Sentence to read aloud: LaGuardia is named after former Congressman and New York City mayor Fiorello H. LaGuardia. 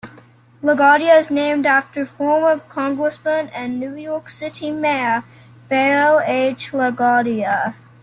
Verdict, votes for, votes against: rejected, 1, 2